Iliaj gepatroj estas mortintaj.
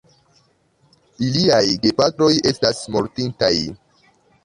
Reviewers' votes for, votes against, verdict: 3, 0, accepted